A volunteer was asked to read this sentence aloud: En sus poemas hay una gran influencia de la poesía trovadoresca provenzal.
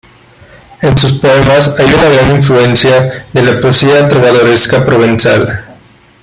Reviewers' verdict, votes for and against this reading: accepted, 2, 0